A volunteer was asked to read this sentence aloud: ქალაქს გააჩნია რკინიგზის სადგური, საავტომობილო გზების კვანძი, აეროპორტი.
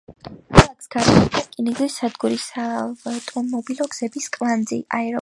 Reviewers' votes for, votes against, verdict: 2, 3, rejected